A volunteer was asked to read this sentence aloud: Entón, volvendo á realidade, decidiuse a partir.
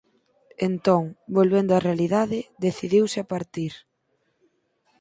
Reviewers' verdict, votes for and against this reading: accepted, 4, 0